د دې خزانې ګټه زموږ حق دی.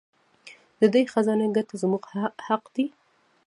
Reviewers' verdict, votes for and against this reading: rejected, 0, 2